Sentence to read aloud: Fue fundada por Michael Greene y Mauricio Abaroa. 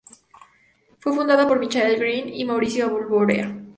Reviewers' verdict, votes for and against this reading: accepted, 2, 0